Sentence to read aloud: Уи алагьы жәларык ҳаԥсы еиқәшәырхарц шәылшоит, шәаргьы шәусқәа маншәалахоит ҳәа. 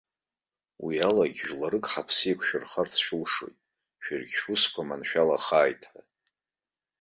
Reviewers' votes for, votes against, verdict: 0, 2, rejected